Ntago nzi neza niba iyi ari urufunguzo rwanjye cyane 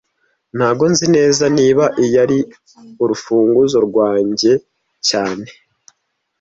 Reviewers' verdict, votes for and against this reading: accepted, 2, 0